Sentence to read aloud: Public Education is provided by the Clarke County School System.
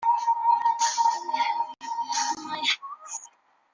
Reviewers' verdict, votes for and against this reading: rejected, 0, 2